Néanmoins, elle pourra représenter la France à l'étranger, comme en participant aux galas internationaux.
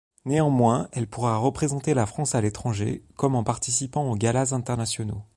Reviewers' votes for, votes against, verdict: 2, 0, accepted